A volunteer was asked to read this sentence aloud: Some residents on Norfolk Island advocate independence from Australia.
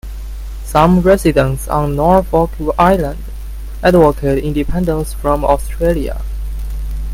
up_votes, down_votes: 1, 2